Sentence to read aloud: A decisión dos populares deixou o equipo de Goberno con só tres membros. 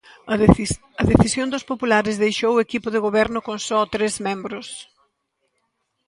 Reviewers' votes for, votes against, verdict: 1, 2, rejected